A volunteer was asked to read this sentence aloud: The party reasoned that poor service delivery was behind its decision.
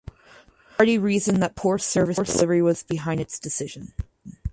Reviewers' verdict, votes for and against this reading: rejected, 0, 4